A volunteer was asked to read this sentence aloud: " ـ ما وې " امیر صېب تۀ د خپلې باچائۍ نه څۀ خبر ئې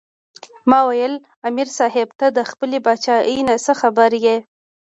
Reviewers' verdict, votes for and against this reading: rejected, 0, 2